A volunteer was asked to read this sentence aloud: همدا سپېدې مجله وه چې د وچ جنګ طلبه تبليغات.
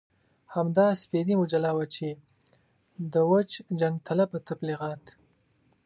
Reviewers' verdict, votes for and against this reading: accepted, 2, 0